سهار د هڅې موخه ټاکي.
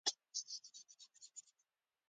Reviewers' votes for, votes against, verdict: 0, 2, rejected